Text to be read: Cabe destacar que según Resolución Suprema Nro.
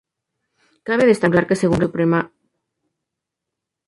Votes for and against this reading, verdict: 0, 2, rejected